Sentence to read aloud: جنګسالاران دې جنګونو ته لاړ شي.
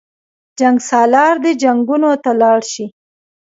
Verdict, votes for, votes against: accepted, 2, 1